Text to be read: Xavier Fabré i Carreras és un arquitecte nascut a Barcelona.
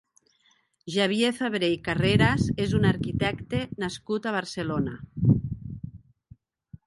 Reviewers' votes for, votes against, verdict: 1, 2, rejected